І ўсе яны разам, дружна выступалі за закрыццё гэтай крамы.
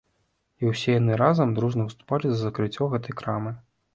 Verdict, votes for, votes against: accepted, 2, 0